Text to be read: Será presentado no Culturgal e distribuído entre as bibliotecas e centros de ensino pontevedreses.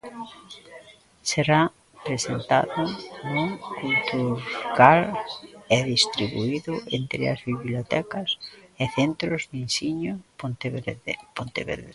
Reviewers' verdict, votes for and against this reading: rejected, 1, 2